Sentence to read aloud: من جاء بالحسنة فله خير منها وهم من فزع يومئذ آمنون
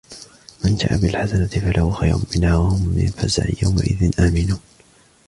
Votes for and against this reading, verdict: 1, 2, rejected